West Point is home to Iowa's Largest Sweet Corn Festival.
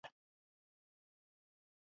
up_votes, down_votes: 0, 2